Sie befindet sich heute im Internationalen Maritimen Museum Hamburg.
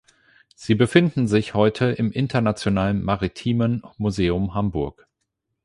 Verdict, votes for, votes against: rejected, 4, 8